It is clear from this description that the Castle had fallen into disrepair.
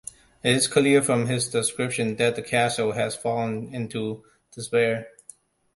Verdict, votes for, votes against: rejected, 0, 2